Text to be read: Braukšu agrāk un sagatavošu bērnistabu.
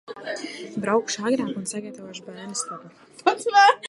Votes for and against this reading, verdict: 0, 2, rejected